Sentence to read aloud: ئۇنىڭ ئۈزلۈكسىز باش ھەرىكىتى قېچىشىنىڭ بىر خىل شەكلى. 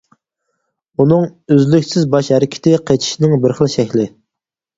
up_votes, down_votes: 6, 0